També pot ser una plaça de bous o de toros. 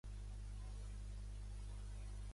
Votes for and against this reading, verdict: 1, 2, rejected